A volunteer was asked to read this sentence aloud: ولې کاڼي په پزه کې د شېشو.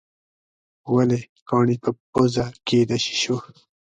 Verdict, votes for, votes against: accepted, 2, 0